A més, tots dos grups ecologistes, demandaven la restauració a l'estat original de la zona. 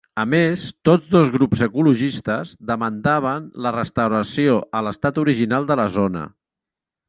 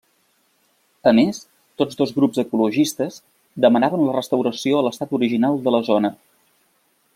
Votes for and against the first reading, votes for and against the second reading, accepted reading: 3, 0, 2, 3, first